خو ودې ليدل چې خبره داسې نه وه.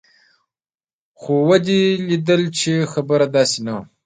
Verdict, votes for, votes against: rejected, 1, 2